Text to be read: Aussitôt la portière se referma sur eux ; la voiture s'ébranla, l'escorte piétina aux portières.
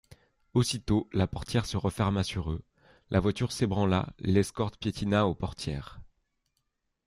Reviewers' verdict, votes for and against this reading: accepted, 2, 0